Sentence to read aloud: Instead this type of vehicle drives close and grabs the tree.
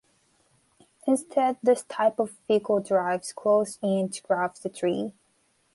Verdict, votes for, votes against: accepted, 2, 0